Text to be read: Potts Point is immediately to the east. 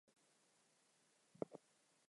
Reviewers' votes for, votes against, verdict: 0, 4, rejected